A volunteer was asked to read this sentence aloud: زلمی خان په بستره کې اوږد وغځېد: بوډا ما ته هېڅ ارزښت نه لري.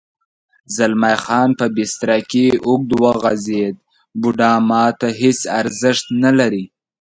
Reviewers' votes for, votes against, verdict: 2, 0, accepted